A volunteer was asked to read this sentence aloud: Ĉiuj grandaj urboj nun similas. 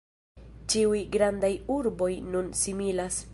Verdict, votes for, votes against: rejected, 1, 2